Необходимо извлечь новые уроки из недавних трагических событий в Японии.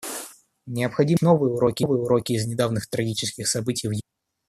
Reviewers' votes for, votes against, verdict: 0, 2, rejected